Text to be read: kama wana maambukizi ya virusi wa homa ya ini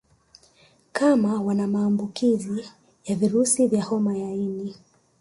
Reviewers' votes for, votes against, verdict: 0, 2, rejected